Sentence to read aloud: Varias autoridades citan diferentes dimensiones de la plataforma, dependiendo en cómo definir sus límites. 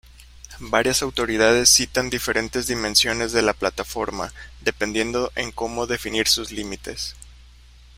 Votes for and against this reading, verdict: 0, 2, rejected